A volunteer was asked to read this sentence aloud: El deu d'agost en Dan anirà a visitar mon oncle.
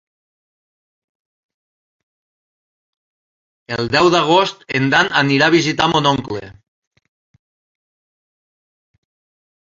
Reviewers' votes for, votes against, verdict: 3, 0, accepted